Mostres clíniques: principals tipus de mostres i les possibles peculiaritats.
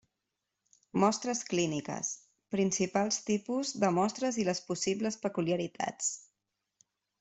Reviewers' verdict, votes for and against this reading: accepted, 3, 0